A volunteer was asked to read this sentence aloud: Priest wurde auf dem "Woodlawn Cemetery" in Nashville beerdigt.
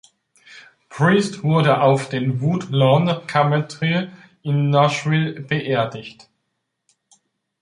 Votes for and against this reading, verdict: 0, 2, rejected